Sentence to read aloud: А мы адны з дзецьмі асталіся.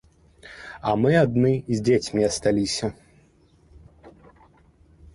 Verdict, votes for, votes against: accepted, 2, 0